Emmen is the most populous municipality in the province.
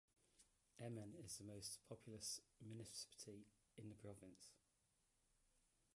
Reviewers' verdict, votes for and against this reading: rejected, 0, 2